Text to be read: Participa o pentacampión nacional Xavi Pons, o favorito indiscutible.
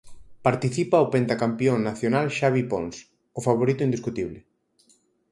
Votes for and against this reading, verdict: 4, 0, accepted